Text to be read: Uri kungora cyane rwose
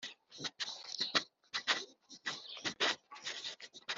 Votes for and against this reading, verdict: 2, 1, accepted